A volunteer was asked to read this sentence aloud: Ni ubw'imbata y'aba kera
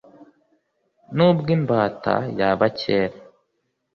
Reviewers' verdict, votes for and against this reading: accepted, 3, 0